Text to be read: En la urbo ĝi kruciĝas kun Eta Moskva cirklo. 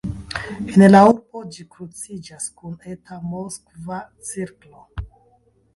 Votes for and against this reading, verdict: 1, 2, rejected